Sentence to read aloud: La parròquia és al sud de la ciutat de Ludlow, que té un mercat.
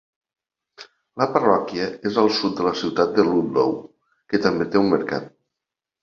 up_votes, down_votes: 0, 2